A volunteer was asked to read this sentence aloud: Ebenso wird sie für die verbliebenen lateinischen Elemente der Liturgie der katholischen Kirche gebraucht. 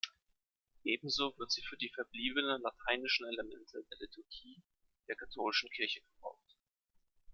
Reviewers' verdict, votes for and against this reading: rejected, 1, 2